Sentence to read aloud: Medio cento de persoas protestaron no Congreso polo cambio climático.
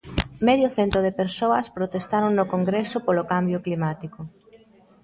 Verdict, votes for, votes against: accepted, 2, 0